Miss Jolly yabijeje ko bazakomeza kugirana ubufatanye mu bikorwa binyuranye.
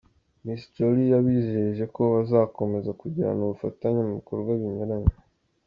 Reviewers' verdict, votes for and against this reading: accepted, 2, 0